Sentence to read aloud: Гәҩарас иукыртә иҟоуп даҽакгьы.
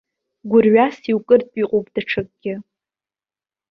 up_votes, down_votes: 0, 2